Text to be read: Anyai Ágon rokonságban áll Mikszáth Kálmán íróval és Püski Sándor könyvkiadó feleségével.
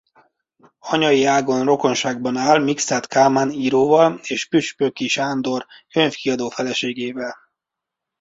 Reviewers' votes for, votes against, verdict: 0, 2, rejected